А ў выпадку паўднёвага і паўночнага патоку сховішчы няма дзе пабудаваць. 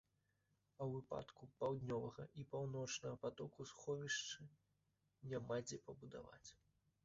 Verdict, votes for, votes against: accepted, 2, 0